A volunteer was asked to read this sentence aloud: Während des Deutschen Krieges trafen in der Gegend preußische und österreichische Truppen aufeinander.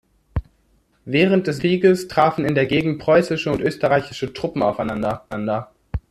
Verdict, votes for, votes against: rejected, 0, 2